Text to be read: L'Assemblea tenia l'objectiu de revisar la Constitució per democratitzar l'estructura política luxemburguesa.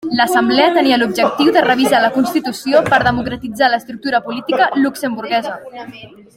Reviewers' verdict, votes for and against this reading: rejected, 1, 2